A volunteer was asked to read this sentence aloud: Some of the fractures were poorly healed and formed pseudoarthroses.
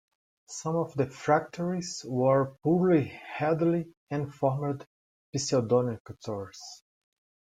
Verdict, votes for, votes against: rejected, 0, 2